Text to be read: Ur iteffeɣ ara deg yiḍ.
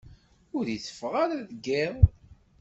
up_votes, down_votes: 2, 0